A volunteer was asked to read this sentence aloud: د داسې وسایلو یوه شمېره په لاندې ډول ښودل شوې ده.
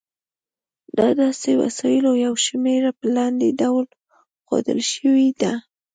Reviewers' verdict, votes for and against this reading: accepted, 2, 0